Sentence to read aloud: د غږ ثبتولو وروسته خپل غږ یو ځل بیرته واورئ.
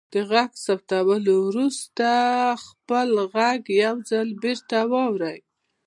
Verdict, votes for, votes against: accepted, 2, 0